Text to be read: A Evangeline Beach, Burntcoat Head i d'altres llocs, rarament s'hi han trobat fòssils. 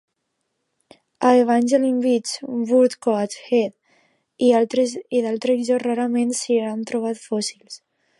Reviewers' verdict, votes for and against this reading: rejected, 0, 2